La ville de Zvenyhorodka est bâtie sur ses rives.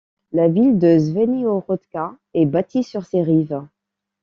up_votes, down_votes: 2, 0